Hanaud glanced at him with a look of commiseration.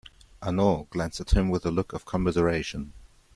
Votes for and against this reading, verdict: 2, 0, accepted